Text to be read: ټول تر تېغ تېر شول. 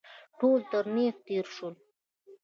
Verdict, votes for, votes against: accepted, 2, 1